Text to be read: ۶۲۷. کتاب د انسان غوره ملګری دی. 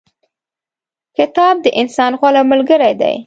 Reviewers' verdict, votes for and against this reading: rejected, 0, 2